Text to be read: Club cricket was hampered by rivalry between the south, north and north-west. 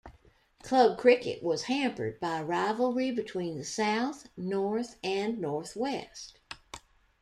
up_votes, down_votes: 2, 1